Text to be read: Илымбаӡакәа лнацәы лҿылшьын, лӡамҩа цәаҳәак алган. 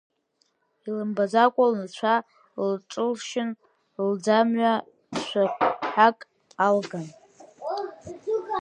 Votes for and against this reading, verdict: 4, 10, rejected